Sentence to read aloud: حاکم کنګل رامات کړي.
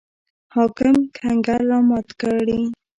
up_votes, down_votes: 2, 0